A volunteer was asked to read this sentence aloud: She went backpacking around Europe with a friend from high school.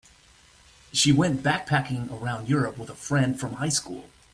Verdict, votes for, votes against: accepted, 2, 0